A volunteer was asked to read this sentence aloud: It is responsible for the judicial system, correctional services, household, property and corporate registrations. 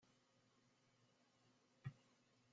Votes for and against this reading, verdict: 0, 2, rejected